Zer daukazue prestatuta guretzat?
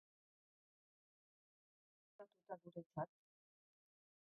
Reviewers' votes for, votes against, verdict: 0, 3, rejected